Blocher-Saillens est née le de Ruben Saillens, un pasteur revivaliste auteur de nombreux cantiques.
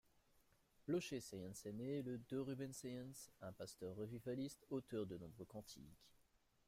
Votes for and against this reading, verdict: 0, 2, rejected